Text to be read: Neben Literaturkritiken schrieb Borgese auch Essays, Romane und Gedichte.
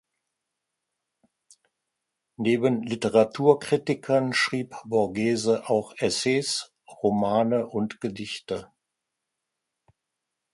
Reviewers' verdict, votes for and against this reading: rejected, 1, 2